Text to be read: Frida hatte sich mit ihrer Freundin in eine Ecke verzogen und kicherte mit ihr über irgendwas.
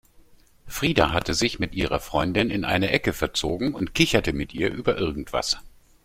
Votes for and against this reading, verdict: 2, 0, accepted